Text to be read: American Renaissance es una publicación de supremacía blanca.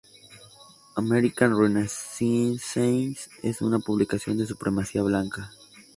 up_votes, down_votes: 0, 2